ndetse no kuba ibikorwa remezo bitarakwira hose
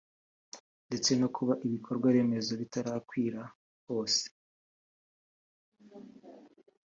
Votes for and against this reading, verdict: 2, 0, accepted